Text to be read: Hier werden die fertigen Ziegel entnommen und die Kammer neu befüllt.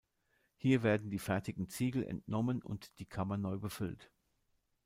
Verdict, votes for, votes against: accepted, 2, 0